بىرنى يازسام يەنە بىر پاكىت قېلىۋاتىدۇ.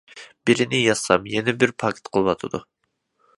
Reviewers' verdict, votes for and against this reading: rejected, 0, 2